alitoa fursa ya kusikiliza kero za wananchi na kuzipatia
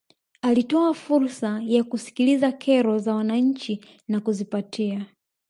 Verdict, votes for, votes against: rejected, 0, 2